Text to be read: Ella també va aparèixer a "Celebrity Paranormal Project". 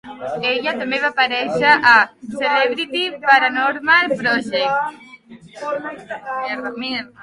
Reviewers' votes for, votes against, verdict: 1, 5, rejected